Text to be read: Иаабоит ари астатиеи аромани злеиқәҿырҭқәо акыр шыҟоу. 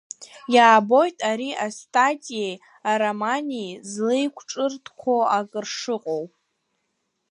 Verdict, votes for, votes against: rejected, 1, 2